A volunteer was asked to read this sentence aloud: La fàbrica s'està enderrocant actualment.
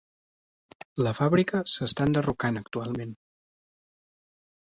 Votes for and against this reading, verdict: 2, 0, accepted